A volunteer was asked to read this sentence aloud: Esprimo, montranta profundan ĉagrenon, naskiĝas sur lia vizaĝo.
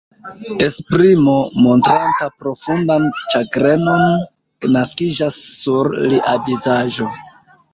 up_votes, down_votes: 2, 0